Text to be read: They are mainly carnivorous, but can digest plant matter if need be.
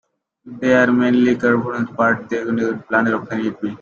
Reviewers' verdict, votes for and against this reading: rejected, 0, 2